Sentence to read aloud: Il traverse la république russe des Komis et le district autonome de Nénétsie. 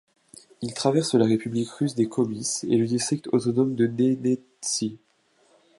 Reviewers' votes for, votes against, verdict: 1, 2, rejected